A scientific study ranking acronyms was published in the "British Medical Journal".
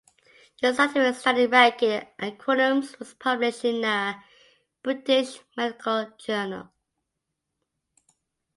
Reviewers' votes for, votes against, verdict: 0, 2, rejected